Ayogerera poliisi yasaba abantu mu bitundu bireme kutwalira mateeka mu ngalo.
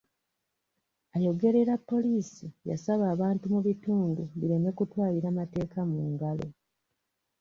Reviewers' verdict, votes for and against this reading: rejected, 1, 2